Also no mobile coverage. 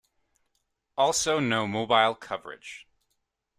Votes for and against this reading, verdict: 2, 0, accepted